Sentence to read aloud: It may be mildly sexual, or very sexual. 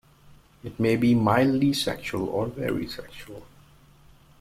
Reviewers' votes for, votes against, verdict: 2, 0, accepted